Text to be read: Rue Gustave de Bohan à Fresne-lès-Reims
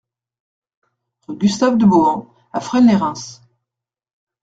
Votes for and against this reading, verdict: 1, 2, rejected